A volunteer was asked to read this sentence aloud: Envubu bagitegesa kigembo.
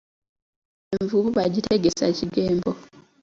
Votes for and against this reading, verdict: 2, 1, accepted